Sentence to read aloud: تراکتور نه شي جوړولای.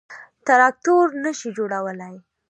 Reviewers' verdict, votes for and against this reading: accepted, 3, 1